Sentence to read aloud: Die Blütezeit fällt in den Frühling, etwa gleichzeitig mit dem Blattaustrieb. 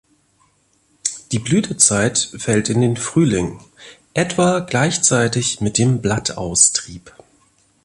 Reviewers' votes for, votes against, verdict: 2, 0, accepted